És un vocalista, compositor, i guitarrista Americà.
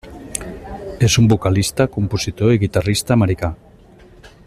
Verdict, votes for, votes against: accepted, 3, 0